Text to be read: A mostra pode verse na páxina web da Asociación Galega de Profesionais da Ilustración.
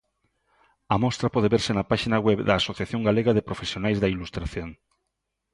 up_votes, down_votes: 2, 0